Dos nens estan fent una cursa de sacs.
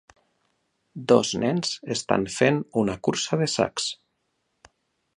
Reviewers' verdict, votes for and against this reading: accepted, 2, 0